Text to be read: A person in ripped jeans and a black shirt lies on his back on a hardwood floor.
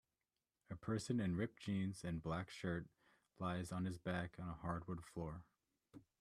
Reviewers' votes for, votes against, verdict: 0, 2, rejected